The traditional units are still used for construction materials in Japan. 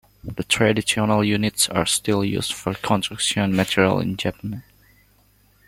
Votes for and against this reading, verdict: 2, 0, accepted